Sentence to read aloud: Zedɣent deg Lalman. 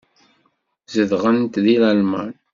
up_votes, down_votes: 2, 0